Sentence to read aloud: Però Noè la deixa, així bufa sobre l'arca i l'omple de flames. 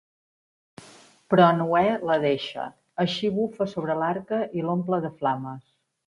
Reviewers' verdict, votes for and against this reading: accepted, 2, 0